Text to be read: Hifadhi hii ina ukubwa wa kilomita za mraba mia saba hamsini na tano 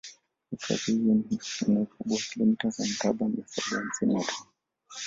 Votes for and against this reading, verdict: 1, 2, rejected